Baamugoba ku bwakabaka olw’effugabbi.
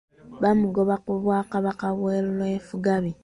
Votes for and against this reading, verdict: 0, 2, rejected